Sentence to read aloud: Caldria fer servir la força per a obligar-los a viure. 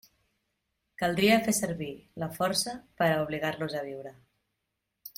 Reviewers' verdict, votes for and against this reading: accepted, 2, 0